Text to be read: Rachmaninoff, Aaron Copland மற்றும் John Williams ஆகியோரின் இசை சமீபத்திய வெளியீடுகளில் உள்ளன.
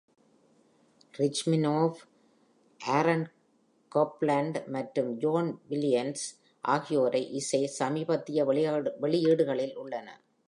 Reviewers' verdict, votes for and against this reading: rejected, 0, 2